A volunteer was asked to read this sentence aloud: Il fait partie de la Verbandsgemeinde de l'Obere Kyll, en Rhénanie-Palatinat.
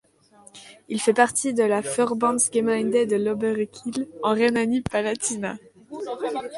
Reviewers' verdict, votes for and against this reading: accepted, 2, 0